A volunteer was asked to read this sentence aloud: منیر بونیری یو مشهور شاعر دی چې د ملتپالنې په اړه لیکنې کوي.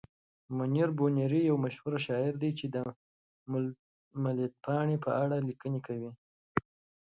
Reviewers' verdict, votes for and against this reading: accepted, 2, 0